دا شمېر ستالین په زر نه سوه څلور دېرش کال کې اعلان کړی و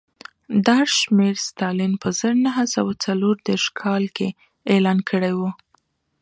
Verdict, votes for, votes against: accepted, 2, 0